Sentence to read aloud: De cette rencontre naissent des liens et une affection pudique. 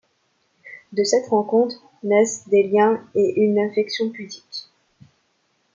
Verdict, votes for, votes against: accepted, 2, 0